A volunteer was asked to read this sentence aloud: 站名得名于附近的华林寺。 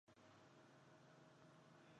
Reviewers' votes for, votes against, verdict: 0, 2, rejected